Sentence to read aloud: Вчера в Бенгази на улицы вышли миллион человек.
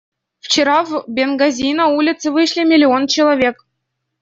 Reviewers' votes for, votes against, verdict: 1, 2, rejected